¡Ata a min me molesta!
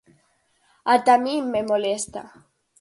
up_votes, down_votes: 4, 0